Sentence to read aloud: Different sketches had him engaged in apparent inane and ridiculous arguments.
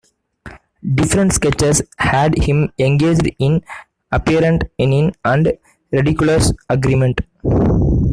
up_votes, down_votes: 0, 2